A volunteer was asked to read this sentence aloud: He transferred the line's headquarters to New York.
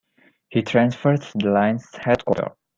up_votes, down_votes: 0, 2